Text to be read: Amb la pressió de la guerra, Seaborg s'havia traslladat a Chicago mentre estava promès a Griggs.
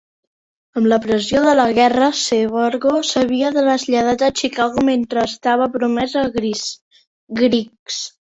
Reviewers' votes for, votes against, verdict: 0, 2, rejected